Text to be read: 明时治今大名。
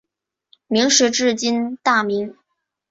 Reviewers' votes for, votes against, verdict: 2, 0, accepted